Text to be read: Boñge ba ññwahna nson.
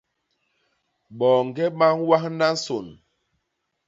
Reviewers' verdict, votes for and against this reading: rejected, 0, 2